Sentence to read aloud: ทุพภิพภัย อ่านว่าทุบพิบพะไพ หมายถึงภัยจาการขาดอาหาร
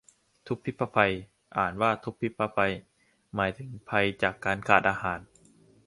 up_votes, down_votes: 2, 0